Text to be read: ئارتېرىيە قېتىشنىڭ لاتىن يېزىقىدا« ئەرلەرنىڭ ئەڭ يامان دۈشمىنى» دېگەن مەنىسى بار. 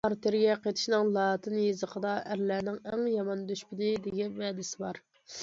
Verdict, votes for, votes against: accepted, 2, 0